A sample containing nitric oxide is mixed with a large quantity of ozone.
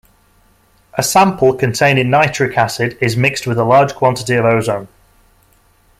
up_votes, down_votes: 0, 2